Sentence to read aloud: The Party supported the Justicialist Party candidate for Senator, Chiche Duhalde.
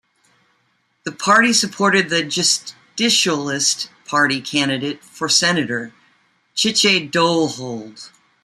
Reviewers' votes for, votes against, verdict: 2, 1, accepted